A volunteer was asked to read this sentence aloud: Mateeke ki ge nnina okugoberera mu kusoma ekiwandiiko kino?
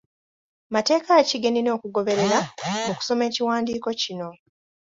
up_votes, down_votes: 2, 0